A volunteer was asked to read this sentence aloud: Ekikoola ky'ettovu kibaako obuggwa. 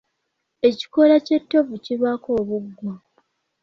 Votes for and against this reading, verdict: 2, 1, accepted